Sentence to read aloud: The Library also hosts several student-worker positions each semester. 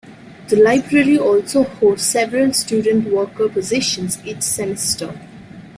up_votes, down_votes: 2, 0